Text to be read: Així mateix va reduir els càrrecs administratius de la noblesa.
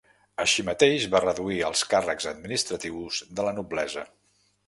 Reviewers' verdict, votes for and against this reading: accepted, 2, 0